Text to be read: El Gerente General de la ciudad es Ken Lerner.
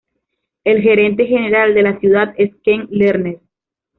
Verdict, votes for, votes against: accepted, 2, 0